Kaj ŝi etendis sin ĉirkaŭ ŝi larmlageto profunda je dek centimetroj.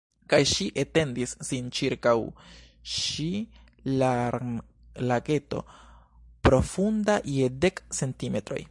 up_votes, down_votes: 3, 0